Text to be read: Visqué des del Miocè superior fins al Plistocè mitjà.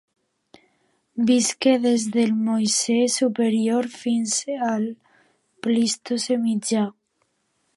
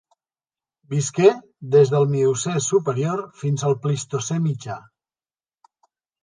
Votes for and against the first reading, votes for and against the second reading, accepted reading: 1, 2, 2, 0, second